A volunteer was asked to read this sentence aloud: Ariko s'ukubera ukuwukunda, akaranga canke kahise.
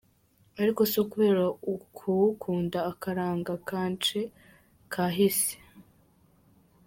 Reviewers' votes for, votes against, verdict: 1, 2, rejected